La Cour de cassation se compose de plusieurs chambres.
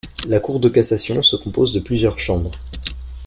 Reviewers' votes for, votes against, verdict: 2, 0, accepted